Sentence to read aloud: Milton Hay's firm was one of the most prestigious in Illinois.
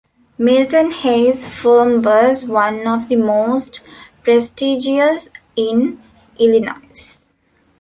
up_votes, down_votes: 1, 2